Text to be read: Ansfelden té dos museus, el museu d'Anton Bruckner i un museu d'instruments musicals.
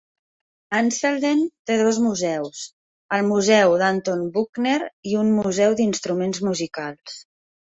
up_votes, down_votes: 1, 2